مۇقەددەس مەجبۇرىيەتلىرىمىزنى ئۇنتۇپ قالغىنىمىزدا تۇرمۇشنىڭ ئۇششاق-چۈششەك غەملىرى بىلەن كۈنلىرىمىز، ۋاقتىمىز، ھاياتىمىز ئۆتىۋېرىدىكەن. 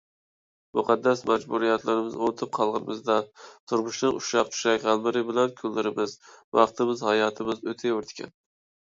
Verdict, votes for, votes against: rejected, 0, 2